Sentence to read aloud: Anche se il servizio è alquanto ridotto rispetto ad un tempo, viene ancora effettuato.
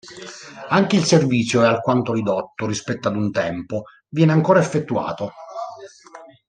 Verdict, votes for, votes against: rejected, 1, 2